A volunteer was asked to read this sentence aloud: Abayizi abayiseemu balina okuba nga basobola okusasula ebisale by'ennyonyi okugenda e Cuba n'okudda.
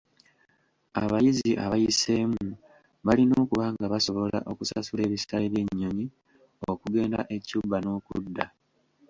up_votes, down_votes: 3, 2